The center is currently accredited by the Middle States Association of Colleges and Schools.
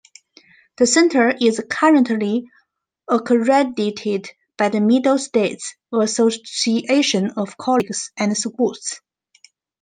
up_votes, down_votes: 0, 2